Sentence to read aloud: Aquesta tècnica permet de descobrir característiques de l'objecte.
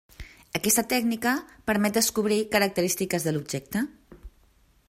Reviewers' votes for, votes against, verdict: 1, 2, rejected